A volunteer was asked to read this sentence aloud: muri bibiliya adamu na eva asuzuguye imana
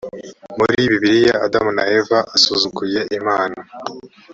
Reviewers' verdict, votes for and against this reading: accepted, 2, 0